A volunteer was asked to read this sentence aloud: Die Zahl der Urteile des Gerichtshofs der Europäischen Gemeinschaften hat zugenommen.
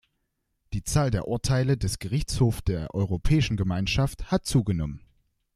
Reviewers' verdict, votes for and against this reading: rejected, 1, 2